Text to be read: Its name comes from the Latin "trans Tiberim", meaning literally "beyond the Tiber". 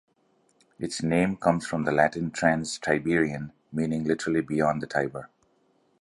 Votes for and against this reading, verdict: 1, 2, rejected